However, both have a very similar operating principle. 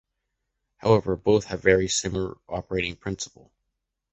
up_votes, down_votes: 1, 2